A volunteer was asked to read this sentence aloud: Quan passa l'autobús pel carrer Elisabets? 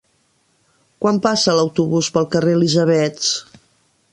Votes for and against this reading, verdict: 2, 0, accepted